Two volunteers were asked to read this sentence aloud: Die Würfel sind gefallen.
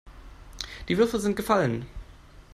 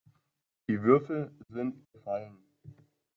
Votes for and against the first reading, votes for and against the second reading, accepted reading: 2, 0, 0, 2, first